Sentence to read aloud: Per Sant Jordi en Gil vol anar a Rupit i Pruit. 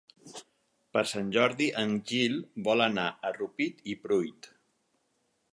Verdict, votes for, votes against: accepted, 4, 0